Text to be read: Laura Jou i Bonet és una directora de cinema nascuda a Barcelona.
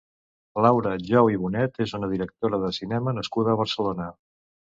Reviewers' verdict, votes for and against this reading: accepted, 2, 0